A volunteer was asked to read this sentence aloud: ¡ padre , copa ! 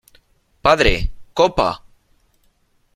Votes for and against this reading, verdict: 2, 0, accepted